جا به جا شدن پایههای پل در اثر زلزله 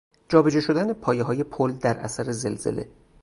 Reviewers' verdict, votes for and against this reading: accepted, 2, 0